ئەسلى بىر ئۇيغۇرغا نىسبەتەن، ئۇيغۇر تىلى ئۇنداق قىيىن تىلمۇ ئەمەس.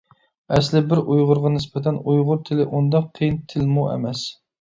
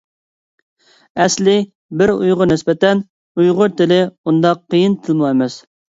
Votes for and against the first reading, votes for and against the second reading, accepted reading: 2, 0, 1, 2, first